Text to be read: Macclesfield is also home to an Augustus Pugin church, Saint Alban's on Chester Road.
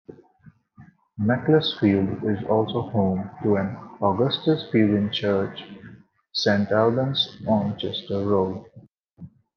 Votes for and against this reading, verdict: 0, 2, rejected